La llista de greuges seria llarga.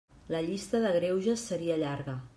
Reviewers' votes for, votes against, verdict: 3, 0, accepted